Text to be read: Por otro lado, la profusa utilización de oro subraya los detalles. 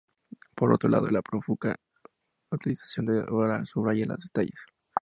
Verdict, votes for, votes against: rejected, 0, 2